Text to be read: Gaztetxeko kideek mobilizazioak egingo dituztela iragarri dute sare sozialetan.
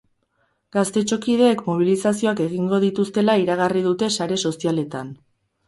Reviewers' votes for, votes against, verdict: 2, 4, rejected